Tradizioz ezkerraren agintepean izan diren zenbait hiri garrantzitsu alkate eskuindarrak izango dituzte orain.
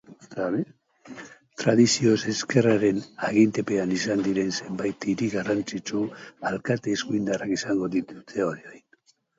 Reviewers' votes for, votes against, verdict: 0, 2, rejected